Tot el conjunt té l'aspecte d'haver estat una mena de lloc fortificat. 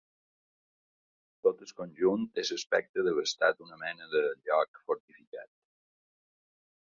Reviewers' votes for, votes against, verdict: 2, 1, accepted